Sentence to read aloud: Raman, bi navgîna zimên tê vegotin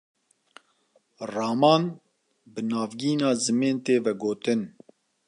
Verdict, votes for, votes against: accepted, 2, 0